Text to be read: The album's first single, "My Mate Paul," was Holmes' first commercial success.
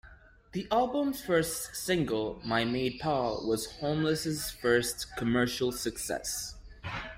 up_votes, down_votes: 1, 2